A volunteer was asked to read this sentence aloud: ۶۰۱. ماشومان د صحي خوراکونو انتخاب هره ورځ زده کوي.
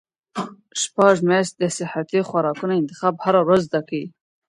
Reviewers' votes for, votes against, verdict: 0, 2, rejected